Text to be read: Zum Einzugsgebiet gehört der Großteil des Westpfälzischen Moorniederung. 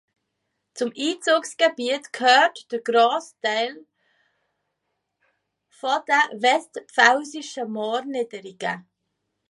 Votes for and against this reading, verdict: 0, 2, rejected